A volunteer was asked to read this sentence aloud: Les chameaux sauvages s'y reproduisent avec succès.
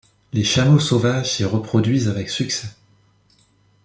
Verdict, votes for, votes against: accepted, 2, 0